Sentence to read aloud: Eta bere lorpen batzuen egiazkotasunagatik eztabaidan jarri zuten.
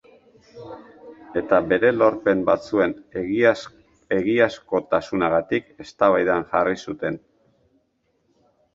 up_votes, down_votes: 1, 3